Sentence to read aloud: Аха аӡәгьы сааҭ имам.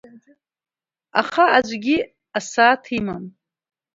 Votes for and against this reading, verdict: 1, 2, rejected